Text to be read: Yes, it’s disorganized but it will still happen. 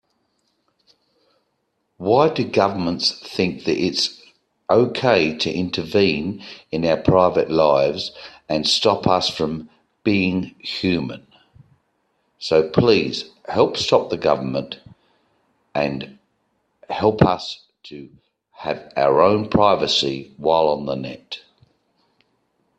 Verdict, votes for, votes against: rejected, 1, 2